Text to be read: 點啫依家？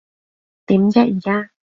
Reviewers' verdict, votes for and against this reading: rejected, 0, 2